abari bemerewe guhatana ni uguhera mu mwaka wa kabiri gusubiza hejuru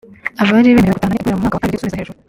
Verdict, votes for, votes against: rejected, 0, 3